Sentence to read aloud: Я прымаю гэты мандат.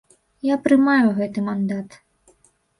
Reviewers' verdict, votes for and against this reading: accepted, 2, 0